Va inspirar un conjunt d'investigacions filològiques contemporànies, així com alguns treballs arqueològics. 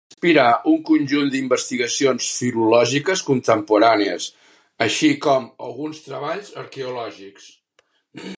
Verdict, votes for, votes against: rejected, 0, 2